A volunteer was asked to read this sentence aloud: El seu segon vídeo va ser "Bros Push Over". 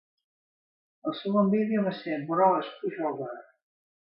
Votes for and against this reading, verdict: 0, 2, rejected